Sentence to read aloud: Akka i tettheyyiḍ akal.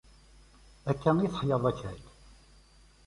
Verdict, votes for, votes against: rejected, 0, 2